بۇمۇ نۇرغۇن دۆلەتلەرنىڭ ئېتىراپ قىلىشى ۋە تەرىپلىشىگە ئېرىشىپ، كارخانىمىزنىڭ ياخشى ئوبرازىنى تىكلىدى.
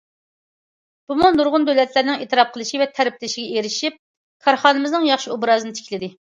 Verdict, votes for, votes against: accepted, 2, 0